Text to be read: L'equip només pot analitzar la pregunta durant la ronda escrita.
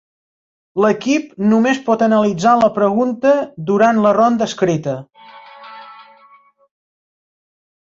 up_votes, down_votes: 5, 1